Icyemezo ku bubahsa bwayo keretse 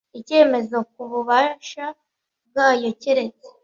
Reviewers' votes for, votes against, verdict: 1, 2, rejected